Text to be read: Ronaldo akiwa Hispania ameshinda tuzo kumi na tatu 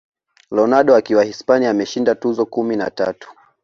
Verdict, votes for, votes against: accepted, 2, 1